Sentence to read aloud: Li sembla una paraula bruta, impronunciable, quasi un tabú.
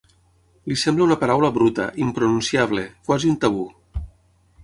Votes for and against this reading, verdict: 6, 0, accepted